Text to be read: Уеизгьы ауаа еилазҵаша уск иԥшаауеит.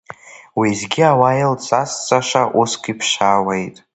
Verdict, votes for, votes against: rejected, 0, 2